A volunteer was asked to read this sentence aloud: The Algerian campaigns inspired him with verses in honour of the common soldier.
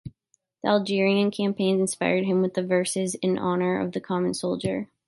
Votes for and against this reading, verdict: 1, 2, rejected